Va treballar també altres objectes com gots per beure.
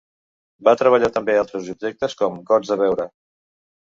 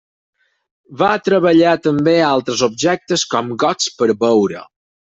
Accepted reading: second